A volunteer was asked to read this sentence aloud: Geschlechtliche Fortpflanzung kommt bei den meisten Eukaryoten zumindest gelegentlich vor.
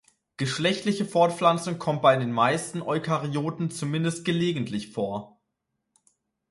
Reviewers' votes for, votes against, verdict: 2, 0, accepted